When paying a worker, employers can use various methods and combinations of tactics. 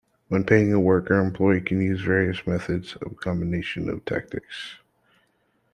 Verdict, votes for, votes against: rejected, 1, 2